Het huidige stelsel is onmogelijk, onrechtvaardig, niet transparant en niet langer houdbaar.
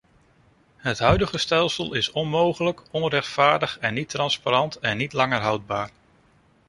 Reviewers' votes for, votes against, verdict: 0, 2, rejected